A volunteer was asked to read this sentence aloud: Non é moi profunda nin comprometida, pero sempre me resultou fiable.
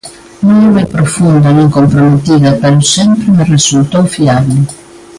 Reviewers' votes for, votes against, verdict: 1, 2, rejected